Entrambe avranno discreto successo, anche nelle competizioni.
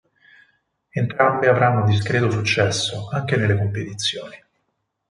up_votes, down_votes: 4, 2